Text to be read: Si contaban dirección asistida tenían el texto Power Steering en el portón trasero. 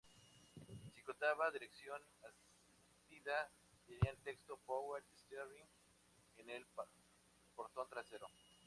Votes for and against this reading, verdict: 0, 2, rejected